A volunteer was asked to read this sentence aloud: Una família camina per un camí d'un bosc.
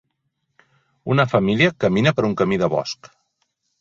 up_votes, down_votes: 0, 4